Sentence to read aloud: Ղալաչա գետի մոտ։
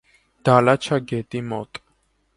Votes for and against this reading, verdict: 0, 2, rejected